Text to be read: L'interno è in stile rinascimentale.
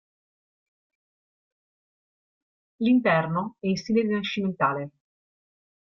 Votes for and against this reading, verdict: 2, 0, accepted